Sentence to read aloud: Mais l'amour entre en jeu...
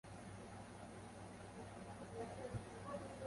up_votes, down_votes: 0, 2